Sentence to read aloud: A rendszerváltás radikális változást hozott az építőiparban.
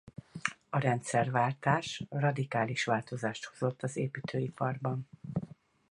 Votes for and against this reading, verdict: 4, 0, accepted